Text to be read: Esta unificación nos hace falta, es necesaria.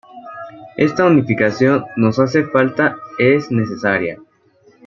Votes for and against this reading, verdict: 2, 0, accepted